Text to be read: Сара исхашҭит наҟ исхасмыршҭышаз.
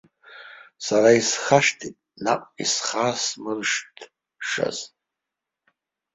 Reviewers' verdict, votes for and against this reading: accepted, 2, 1